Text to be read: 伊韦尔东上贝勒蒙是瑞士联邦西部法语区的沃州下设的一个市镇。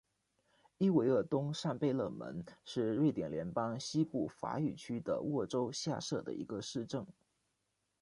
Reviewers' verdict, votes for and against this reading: rejected, 1, 2